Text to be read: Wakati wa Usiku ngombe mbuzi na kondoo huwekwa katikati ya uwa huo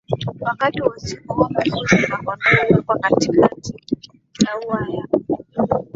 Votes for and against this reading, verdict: 1, 2, rejected